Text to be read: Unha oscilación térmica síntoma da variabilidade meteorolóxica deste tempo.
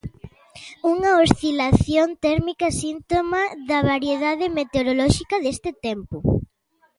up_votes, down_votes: 0, 2